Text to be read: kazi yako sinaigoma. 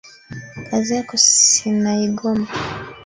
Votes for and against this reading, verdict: 1, 2, rejected